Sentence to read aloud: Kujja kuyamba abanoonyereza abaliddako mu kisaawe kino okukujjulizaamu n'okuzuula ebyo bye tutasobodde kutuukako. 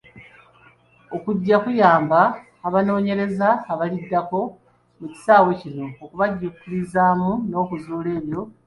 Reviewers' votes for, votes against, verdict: 0, 2, rejected